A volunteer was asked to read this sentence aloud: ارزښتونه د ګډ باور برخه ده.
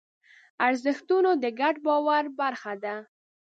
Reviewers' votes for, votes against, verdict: 1, 2, rejected